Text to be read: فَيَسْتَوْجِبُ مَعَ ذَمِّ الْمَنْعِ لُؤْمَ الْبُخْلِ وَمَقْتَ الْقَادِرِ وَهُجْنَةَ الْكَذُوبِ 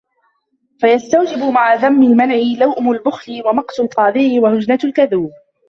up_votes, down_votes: 0, 2